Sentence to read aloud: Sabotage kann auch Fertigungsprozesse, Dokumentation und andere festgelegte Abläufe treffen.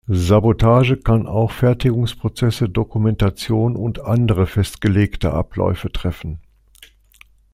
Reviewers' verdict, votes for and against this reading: accepted, 2, 0